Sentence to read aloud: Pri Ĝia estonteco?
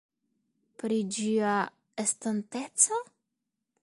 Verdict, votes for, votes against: accepted, 2, 0